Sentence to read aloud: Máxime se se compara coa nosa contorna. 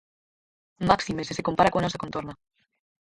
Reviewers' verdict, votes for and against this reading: rejected, 0, 4